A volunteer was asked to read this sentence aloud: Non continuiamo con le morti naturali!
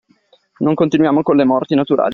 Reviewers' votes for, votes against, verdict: 2, 0, accepted